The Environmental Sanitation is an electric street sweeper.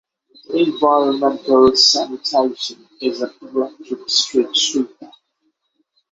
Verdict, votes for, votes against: rejected, 3, 6